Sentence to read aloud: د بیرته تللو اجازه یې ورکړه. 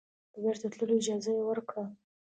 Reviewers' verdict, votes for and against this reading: accepted, 2, 0